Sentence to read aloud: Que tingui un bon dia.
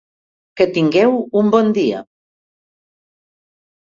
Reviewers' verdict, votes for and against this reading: rejected, 0, 2